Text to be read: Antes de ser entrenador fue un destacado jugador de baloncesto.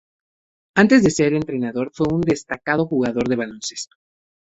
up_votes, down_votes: 0, 2